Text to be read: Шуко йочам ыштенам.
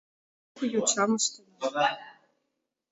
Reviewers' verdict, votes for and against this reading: rejected, 0, 2